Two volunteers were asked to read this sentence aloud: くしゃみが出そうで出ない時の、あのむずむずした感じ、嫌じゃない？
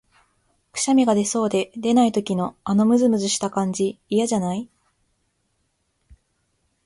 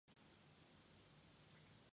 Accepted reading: first